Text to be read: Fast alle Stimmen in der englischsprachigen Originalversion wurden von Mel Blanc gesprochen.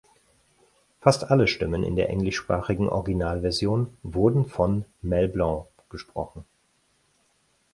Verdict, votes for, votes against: accepted, 4, 0